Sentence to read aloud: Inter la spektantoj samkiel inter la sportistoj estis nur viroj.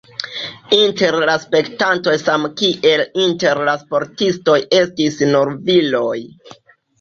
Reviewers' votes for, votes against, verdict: 2, 0, accepted